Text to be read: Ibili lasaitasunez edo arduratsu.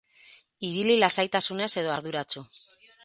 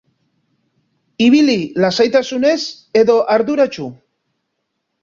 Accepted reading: second